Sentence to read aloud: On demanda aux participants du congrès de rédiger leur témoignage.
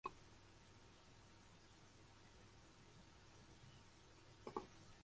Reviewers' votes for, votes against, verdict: 0, 2, rejected